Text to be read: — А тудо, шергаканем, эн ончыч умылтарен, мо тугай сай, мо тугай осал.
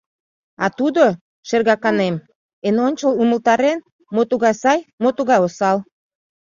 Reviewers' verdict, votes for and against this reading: rejected, 1, 2